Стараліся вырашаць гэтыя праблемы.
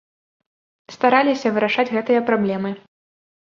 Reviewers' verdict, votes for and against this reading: accepted, 2, 0